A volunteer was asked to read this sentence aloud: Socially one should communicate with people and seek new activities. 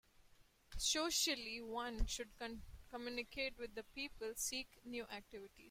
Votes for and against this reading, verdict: 1, 2, rejected